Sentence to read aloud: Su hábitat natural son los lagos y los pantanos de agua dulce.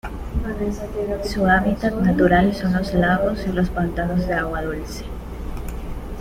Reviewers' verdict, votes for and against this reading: rejected, 0, 2